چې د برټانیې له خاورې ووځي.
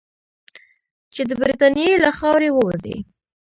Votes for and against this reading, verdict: 2, 0, accepted